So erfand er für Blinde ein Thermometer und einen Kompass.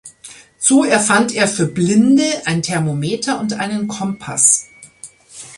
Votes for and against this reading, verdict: 2, 0, accepted